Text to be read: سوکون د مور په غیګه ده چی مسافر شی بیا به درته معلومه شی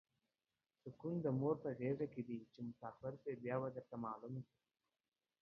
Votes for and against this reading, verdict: 2, 1, accepted